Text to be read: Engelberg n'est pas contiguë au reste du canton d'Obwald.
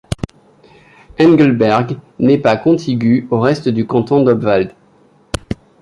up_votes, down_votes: 2, 0